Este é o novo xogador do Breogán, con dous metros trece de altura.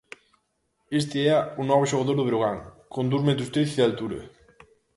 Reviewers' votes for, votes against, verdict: 0, 2, rejected